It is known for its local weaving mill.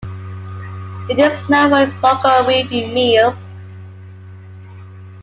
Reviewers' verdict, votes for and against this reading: rejected, 0, 2